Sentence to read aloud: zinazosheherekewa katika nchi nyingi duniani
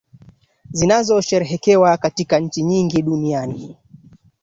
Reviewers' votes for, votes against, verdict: 2, 1, accepted